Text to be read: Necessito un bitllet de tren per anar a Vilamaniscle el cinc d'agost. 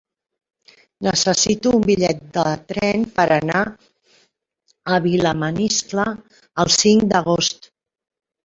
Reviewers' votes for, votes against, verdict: 2, 0, accepted